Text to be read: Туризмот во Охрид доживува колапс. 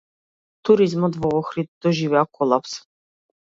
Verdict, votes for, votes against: rejected, 0, 2